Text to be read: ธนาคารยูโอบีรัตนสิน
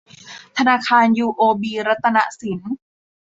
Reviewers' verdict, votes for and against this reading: accepted, 2, 0